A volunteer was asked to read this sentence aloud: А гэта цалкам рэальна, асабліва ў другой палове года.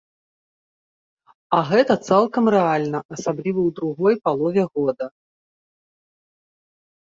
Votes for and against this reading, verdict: 2, 0, accepted